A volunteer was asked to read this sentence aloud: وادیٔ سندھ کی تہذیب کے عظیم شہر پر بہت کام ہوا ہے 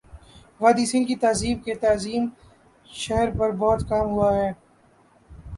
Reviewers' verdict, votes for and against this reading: rejected, 5, 5